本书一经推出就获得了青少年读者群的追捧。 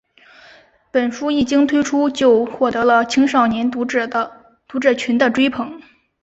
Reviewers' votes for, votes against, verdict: 1, 2, rejected